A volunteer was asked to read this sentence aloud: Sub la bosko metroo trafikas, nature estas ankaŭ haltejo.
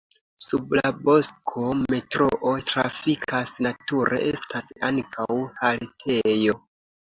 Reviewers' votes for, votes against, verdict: 2, 0, accepted